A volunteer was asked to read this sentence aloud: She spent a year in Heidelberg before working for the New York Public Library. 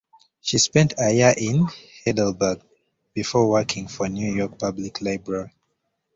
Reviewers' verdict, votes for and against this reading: rejected, 0, 2